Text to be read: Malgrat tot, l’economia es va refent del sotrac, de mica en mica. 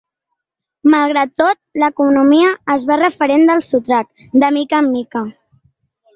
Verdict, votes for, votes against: rejected, 1, 2